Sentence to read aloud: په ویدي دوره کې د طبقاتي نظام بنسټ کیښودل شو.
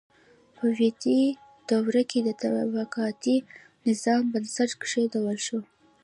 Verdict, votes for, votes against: rejected, 1, 2